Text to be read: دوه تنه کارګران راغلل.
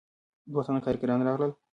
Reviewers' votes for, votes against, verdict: 0, 2, rejected